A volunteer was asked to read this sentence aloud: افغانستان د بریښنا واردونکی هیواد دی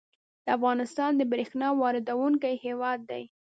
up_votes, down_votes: 3, 2